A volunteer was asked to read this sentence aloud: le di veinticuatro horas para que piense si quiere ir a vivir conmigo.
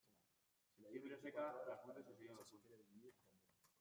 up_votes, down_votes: 0, 2